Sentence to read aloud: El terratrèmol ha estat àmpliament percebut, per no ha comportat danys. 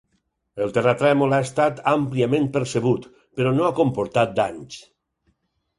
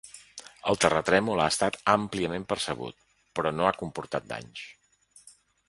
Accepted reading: first